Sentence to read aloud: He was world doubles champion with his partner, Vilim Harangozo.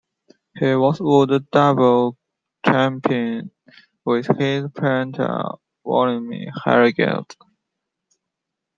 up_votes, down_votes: 0, 2